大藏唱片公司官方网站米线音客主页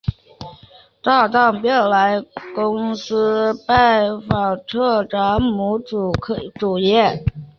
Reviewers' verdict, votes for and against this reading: rejected, 1, 2